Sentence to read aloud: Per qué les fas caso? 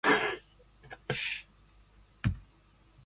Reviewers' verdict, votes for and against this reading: rejected, 0, 2